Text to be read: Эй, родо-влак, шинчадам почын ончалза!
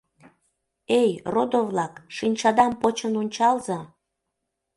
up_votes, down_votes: 2, 0